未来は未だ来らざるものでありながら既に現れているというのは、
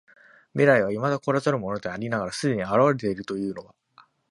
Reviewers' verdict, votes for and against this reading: accepted, 2, 0